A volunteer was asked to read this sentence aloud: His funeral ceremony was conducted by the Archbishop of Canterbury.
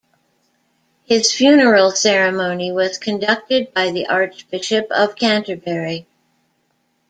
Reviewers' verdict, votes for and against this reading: accepted, 2, 0